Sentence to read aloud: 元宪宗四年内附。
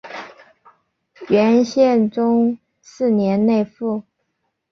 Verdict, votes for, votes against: accepted, 4, 0